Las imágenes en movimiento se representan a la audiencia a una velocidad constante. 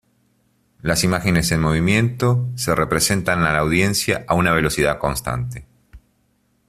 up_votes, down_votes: 2, 0